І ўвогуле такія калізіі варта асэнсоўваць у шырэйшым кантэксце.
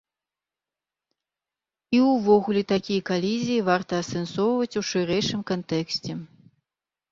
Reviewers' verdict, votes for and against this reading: accepted, 3, 0